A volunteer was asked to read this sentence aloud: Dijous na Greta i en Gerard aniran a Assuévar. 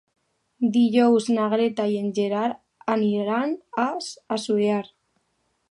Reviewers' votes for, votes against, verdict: 2, 1, accepted